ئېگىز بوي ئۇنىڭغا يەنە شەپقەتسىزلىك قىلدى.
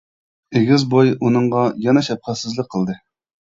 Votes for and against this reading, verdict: 2, 0, accepted